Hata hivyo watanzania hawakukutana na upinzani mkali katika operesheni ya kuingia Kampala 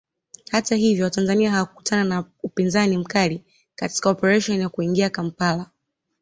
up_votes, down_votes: 2, 0